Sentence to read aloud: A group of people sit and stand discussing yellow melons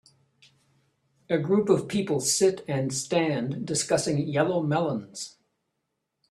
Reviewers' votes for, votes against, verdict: 2, 1, accepted